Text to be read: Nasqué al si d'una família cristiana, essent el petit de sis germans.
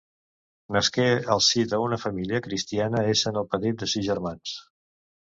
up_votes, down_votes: 1, 2